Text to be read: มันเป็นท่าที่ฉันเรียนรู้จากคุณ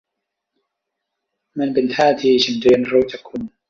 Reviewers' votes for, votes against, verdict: 1, 2, rejected